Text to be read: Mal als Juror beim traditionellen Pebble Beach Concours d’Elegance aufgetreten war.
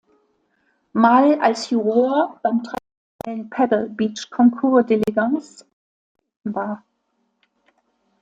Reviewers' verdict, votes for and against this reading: rejected, 0, 2